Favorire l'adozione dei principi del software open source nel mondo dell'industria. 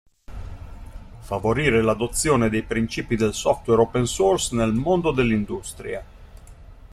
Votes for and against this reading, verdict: 2, 0, accepted